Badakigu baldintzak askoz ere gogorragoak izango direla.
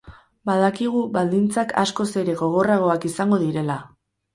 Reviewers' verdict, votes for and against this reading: rejected, 2, 2